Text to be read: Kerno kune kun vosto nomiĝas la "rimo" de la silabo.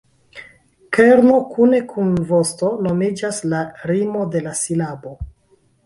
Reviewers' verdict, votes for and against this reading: rejected, 0, 2